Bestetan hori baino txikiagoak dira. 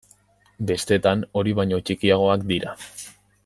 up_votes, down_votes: 2, 0